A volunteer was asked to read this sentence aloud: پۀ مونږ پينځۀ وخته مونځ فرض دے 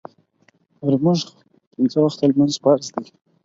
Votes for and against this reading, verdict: 4, 0, accepted